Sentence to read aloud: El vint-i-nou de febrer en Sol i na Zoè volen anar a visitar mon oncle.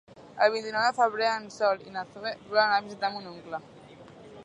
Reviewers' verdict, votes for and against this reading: rejected, 1, 2